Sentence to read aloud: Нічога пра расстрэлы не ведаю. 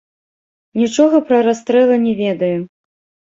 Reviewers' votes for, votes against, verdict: 0, 2, rejected